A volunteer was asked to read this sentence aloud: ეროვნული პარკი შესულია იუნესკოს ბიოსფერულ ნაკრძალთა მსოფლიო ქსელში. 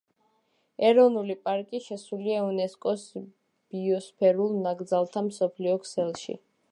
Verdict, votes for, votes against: accepted, 2, 0